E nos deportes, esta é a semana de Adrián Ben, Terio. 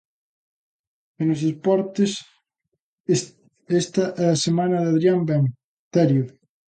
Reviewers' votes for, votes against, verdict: 0, 2, rejected